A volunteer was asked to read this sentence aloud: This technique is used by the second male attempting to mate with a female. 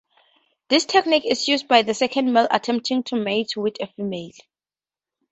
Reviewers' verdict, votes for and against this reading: accepted, 4, 0